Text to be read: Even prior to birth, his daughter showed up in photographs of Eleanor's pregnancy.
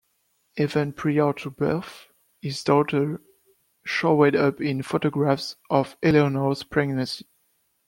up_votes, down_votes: 2, 1